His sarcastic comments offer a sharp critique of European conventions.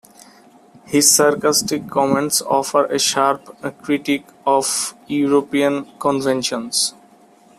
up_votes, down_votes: 2, 0